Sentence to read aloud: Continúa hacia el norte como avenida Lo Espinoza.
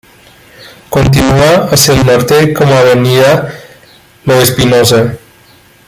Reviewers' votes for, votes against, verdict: 2, 1, accepted